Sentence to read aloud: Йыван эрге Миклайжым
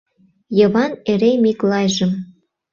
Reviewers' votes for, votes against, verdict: 0, 2, rejected